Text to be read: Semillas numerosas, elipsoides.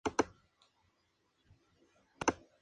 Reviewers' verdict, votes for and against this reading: rejected, 0, 2